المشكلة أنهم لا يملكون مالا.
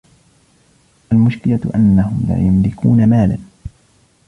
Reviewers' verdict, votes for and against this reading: rejected, 0, 2